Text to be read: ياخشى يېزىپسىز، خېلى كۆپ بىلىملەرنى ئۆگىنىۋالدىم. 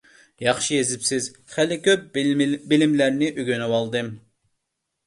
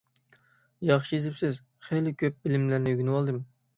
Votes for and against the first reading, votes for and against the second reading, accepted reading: 0, 2, 6, 0, second